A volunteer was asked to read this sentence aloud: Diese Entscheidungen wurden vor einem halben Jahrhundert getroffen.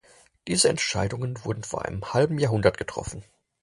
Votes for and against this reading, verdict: 4, 0, accepted